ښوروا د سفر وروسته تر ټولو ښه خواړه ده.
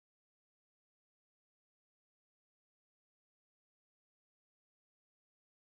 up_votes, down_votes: 0, 4